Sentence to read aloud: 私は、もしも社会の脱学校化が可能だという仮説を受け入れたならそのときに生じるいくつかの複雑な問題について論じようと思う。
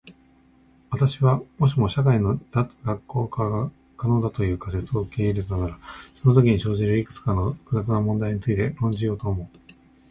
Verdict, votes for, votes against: rejected, 0, 2